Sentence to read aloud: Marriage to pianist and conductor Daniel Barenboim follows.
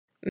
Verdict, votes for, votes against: rejected, 0, 2